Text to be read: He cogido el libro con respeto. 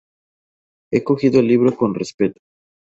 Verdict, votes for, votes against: accepted, 2, 0